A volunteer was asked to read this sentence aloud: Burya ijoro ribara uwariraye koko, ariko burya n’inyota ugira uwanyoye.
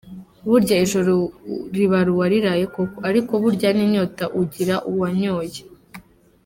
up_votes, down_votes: 2, 1